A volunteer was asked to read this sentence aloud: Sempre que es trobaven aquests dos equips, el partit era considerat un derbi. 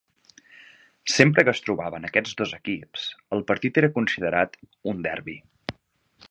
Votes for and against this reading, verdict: 11, 0, accepted